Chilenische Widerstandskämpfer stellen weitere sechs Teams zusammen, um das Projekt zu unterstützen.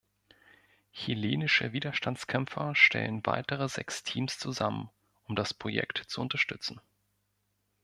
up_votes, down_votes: 2, 0